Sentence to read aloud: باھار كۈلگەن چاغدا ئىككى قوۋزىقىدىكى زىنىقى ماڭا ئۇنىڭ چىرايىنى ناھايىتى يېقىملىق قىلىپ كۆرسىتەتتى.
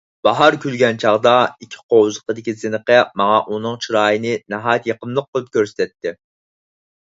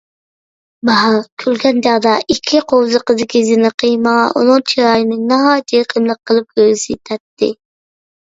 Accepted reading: first